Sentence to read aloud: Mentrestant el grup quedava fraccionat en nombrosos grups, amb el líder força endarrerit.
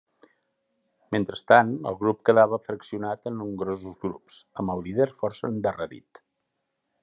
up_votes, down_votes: 3, 0